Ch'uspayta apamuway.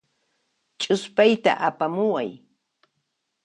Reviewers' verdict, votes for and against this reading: accepted, 2, 0